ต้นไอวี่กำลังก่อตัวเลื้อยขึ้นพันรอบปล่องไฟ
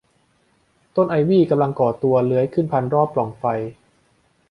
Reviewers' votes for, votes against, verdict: 2, 0, accepted